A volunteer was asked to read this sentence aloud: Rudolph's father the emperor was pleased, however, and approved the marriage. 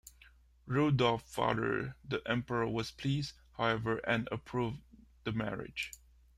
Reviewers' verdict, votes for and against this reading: rejected, 1, 2